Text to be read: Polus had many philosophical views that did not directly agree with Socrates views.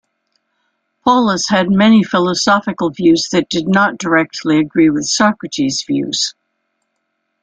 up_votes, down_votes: 2, 0